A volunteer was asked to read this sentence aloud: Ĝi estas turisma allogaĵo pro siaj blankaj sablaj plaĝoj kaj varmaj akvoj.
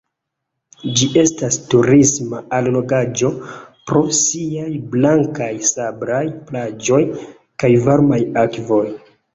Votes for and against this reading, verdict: 2, 1, accepted